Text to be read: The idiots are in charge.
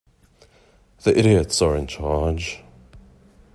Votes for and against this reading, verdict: 2, 0, accepted